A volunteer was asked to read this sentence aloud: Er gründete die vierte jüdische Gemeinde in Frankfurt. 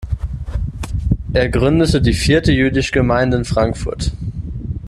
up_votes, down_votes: 1, 2